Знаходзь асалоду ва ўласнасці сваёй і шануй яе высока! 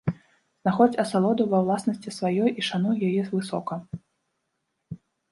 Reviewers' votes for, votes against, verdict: 0, 2, rejected